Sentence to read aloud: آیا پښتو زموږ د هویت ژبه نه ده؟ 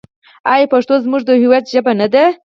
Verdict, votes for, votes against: rejected, 2, 6